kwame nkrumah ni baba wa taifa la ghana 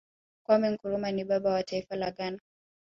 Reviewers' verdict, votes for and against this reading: accepted, 5, 0